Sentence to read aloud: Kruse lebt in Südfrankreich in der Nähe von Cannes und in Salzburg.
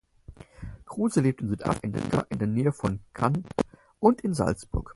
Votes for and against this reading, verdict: 0, 4, rejected